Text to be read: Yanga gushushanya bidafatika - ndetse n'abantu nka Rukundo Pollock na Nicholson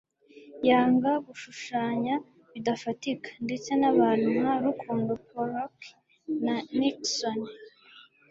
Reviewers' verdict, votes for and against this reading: accepted, 2, 0